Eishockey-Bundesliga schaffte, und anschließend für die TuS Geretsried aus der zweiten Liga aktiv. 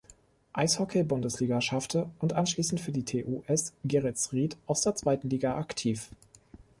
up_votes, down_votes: 1, 2